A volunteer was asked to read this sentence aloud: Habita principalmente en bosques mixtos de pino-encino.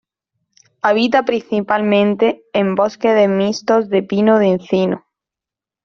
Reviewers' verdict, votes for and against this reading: accepted, 2, 1